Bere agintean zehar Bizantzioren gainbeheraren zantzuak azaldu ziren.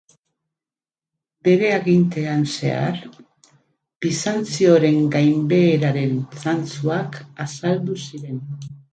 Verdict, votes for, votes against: accepted, 4, 0